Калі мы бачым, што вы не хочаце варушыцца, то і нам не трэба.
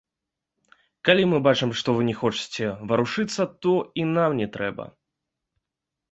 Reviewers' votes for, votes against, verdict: 2, 0, accepted